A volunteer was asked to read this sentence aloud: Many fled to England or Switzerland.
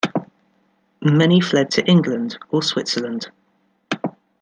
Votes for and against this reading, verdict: 2, 0, accepted